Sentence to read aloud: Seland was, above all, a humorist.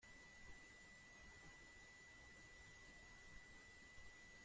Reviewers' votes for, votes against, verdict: 1, 2, rejected